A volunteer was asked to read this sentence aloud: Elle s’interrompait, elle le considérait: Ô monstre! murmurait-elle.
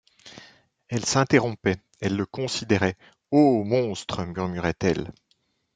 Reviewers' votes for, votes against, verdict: 2, 0, accepted